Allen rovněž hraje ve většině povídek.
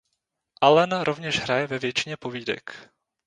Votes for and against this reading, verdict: 0, 2, rejected